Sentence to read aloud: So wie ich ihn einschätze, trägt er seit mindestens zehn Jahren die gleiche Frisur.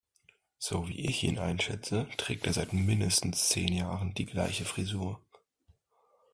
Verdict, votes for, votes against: accepted, 2, 0